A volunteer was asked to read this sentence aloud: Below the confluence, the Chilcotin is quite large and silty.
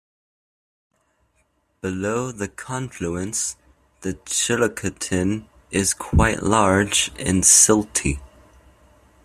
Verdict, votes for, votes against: rejected, 1, 2